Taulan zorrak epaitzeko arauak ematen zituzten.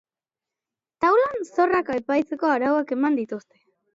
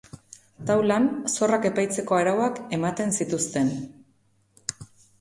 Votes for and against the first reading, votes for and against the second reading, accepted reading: 1, 2, 2, 0, second